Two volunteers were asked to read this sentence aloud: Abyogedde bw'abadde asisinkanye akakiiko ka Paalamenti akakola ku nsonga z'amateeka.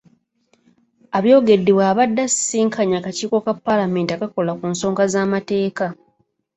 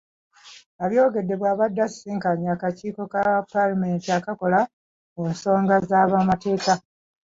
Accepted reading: first